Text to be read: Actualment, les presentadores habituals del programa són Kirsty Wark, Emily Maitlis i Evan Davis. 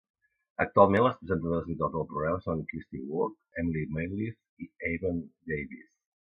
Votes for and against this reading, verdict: 0, 2, rejected